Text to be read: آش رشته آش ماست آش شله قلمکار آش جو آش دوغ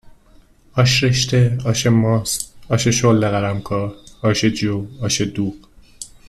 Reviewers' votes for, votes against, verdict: 2, 0, accepted